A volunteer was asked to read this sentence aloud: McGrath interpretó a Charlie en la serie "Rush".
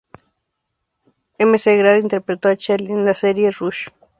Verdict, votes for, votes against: rejected, 0, 2